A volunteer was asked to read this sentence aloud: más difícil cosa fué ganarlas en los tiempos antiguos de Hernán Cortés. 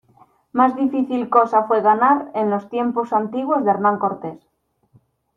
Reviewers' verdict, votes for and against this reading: rejected, 0, 2